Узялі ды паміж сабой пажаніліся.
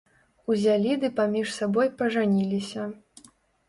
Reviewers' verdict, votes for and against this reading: accepted, 2, 0